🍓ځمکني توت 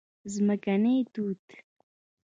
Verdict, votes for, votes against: rejected, 1, 2